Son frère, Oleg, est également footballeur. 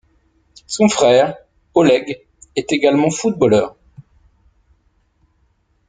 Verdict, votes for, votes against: accepted, 2, 0